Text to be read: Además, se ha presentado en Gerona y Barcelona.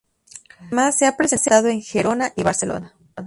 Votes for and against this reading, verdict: 0, 2, rejected